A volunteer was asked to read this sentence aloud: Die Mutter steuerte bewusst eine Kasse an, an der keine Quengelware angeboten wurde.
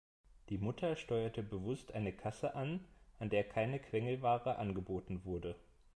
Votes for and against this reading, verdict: 2, 0, accepted